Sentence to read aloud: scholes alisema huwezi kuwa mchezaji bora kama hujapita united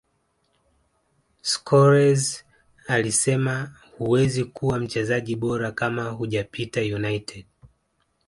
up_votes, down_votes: 1, 2